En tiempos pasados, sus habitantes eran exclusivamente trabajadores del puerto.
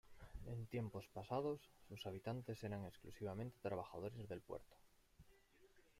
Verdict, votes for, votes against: rejected, 1, 2